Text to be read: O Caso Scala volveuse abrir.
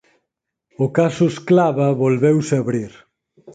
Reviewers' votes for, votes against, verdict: 0, 4, rejected